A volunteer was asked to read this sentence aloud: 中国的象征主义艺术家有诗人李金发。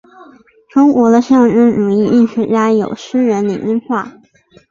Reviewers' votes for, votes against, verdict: 2, 0, accepted